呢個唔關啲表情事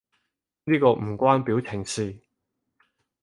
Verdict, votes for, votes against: rejected, 0, 4